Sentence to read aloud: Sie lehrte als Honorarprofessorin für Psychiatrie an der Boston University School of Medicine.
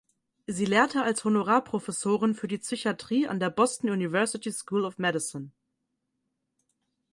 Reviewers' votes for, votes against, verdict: 2, 4, rejected